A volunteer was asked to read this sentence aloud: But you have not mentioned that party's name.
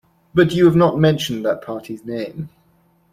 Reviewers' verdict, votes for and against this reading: rejected, 0, 2